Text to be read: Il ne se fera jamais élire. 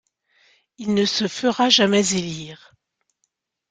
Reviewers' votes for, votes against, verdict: 2, 0, accepted